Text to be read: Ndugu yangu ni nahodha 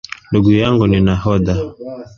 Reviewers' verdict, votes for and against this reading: accepted, 2, 1